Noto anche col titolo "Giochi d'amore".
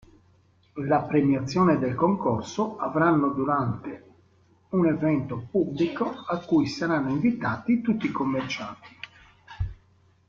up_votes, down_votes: 1, 2